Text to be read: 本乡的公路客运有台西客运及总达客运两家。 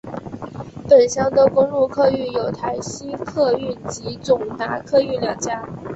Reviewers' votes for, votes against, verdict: 2, 0, accepted